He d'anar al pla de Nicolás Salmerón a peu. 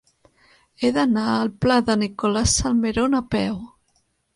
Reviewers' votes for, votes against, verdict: 2, 0, accepted